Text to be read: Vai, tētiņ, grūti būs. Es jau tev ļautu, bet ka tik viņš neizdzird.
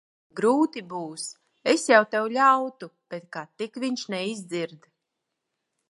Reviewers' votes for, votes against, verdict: 0, 2, rejected